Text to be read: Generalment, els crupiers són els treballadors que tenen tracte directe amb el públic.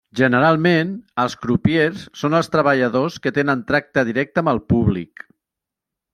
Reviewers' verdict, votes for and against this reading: accepted, 3, 0